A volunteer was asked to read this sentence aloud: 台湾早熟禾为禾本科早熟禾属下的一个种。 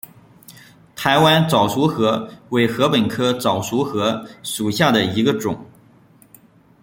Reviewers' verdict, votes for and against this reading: rejected, 1, 2